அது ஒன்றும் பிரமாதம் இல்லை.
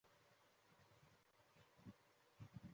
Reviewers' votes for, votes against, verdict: 1, 3, rejected